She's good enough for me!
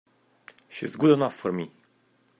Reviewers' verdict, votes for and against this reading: accepted, 2, 0